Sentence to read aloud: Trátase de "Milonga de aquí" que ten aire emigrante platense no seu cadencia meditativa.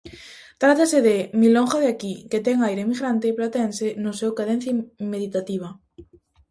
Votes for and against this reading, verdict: 0, 2, rejected